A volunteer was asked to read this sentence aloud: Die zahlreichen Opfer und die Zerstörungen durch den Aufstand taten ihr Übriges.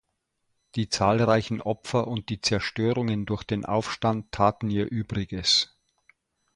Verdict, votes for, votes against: accepted, 2, 0